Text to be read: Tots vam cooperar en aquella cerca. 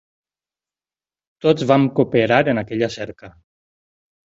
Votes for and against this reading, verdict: 8, 0, accepted